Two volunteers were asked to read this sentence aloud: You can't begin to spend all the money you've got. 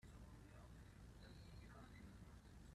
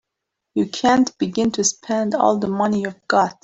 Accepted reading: second